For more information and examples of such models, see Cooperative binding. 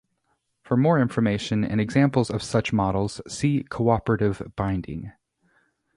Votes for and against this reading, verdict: 2, 0, accepted